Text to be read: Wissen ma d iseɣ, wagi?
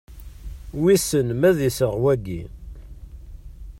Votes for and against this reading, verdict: 2, 0, accepted